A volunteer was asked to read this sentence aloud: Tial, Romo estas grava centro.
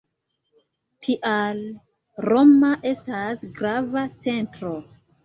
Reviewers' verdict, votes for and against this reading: rejected, 0, 2